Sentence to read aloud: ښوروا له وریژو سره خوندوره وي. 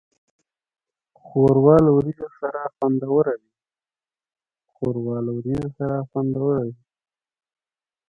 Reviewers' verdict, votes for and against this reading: rejected, 4, 5